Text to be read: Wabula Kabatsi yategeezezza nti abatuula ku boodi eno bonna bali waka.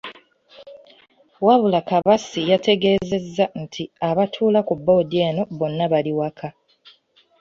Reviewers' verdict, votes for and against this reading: accepted, 2, 0